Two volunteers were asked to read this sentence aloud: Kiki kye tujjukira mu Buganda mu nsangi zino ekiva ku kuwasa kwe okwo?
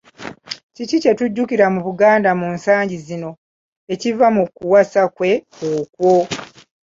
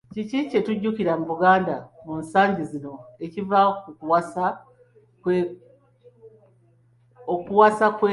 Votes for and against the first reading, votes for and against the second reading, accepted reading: 2, 1, 0, 2, first